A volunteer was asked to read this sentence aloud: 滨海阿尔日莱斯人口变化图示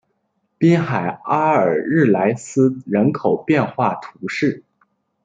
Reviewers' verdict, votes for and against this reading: accepted, 2, 0